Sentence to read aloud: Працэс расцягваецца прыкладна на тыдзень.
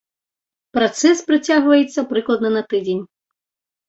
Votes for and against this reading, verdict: 0, 2, rejected